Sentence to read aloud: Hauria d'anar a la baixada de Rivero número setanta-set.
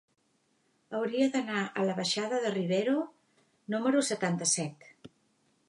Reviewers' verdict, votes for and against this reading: accepted, 3, 0